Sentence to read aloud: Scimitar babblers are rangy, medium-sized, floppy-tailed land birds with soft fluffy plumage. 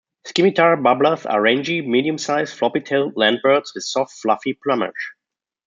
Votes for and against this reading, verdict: 1, 3, rejected